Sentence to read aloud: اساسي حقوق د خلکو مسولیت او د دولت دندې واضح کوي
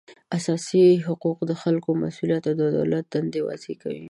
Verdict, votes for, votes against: accepted, 2, 0